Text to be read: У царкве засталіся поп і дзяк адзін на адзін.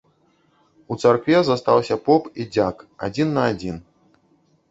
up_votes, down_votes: 1, 2